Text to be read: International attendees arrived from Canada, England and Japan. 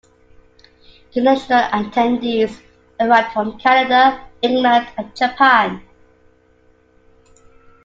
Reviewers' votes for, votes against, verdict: 2, 0, accepted